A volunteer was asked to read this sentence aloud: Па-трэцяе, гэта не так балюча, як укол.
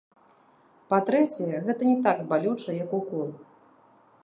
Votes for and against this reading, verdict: 0, 3, rejected